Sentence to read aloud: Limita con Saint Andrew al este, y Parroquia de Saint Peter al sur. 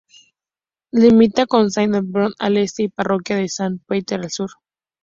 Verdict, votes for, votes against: accepted, 2, 0